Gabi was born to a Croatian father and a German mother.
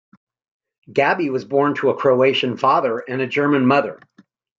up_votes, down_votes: 2, 0